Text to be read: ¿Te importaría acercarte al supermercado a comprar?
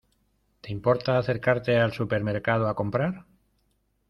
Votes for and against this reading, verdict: 0, 2, rejected